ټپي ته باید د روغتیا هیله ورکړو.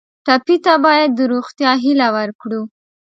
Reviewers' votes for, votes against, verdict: 2, 0, accepted